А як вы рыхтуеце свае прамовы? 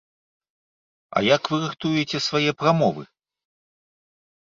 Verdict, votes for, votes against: rejected, 1, 2